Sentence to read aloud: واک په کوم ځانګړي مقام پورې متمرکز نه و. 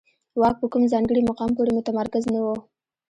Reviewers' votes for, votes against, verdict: 2, 1, accepted